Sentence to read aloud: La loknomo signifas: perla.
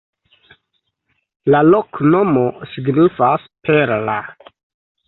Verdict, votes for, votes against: accepted, 2, 0